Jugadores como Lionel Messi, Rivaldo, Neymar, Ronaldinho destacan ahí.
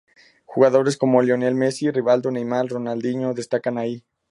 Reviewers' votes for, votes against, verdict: 2, 0, accepted